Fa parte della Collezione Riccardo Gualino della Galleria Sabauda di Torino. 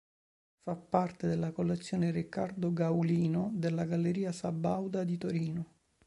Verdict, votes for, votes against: rejected, 0, 3